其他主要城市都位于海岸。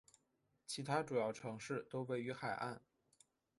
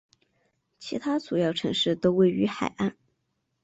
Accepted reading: second